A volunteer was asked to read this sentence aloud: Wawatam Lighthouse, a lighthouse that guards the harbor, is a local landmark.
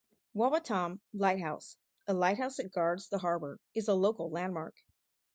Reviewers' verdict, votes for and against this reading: accepted, 4, 0